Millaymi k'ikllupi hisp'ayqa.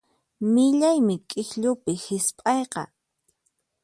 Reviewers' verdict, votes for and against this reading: accepted, 4, 0